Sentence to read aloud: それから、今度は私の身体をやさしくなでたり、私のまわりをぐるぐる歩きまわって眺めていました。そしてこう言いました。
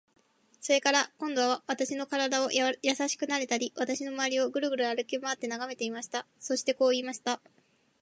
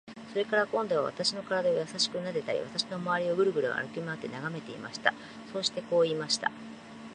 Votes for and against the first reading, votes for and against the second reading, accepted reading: 2, 2, 2, 0, second